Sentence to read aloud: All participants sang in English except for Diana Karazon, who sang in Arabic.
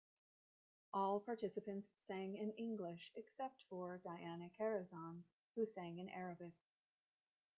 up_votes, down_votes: 0, 2